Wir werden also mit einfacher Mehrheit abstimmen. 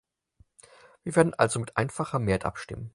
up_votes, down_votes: 4, 0